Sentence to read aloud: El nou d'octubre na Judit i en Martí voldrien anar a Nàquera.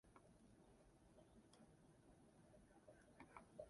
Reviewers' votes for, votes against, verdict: 0, 2, rejected